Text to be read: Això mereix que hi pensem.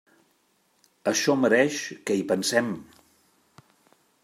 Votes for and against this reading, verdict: 3, 0, accepted